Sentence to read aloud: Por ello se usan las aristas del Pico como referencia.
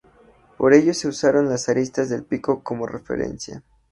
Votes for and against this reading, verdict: 2, 0, accepted